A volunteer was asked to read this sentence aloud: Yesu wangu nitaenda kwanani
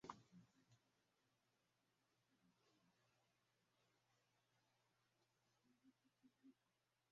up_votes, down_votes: 1, 9